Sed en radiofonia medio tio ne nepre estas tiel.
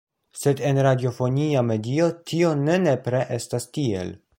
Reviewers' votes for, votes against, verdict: 2, 0, accepted